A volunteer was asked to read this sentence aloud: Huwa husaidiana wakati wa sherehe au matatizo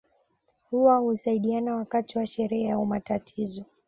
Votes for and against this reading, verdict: 2, 0, accepted